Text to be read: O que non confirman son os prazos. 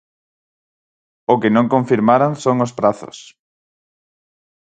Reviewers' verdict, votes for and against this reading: rejected, 0, 4